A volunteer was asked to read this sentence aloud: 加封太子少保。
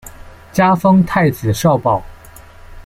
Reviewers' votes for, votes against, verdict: 2, 0, accepted